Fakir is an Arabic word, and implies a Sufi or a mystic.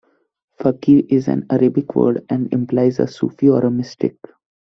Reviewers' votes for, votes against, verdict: 2, 0, accepted